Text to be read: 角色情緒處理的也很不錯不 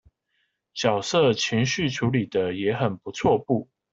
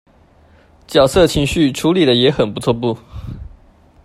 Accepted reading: second